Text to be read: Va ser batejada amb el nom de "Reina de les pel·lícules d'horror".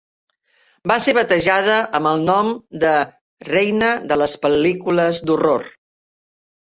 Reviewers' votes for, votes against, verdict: 3, 0, accepted